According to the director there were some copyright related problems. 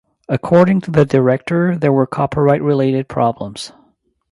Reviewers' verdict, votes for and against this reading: rejected, 1, 2